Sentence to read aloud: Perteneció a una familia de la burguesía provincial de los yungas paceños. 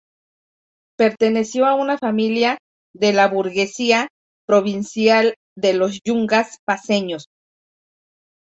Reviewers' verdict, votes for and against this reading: accepted, 2, 0